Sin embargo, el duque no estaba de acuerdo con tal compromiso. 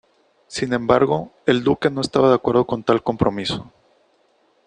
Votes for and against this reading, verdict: 2, 0, accepted